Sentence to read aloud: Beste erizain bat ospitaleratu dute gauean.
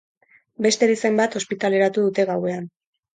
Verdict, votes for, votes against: accepted, 4, 0